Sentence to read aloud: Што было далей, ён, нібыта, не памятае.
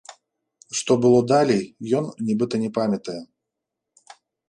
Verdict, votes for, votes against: rejected, 1, 2